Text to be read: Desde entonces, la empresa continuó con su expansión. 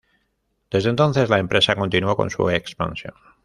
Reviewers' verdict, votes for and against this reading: rejected, 1, 2